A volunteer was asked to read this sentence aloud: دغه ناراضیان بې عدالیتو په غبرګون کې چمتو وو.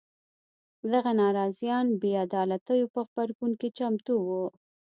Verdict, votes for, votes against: accepted, 2, 0